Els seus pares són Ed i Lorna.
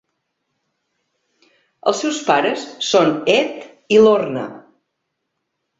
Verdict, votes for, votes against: accepted, 3, 0